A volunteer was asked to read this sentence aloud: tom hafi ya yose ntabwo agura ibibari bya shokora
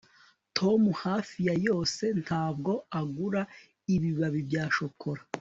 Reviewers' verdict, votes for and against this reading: accepted, 2, 0